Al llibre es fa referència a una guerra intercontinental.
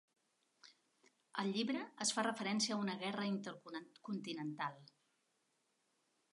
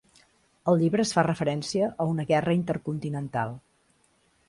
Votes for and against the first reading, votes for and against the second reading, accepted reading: 1, 2, 2, 0, second